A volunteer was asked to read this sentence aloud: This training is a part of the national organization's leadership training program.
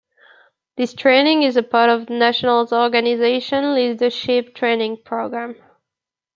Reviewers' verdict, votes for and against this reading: rejected, 1, 2